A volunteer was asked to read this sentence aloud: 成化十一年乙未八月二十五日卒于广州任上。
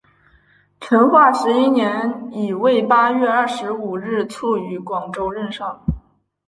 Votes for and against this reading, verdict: 3, 2, accepted